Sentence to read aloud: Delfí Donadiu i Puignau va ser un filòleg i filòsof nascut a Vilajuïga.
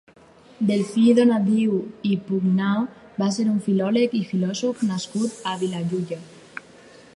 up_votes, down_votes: 2, 4